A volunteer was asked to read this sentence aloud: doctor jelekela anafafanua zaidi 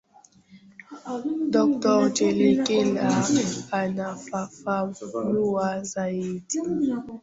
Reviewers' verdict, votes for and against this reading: rejected, 0, 2